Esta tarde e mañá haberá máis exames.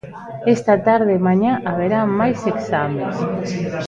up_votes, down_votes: 0, 2